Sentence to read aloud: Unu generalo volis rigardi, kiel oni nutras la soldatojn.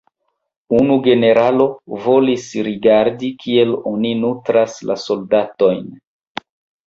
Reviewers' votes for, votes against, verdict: 0, 2, rejected